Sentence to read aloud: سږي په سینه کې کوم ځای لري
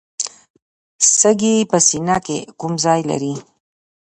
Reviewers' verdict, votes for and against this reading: rejected, 0, 2